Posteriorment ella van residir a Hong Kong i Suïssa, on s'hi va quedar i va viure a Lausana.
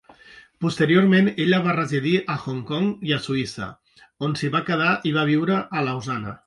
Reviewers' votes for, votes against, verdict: 0, 2, rejected